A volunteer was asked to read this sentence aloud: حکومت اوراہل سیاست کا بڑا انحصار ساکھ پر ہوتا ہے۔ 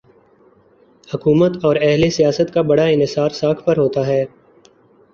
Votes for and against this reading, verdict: 2, 0, accepted